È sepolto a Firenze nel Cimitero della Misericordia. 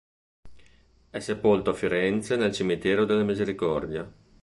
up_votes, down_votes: 2, 0